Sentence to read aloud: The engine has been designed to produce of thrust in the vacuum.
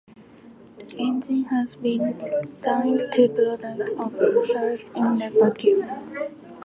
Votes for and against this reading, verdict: 0, 2, rejected